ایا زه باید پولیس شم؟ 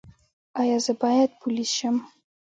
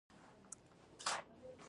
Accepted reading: first